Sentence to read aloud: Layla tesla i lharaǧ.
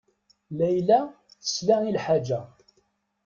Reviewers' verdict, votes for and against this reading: rejected, 1, 3